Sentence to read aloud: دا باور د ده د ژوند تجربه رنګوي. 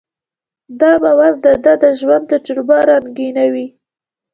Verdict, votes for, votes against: rejected, 1, 2